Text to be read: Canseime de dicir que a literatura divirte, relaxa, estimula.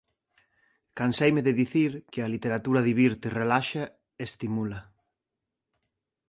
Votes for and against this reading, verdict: 2, 0, accepted